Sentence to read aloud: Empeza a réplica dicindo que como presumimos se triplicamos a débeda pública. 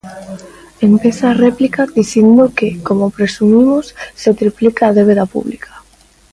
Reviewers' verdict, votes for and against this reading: rejected, 0, 2